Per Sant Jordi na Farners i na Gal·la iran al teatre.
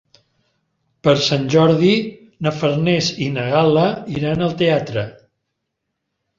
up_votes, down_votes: 2, 0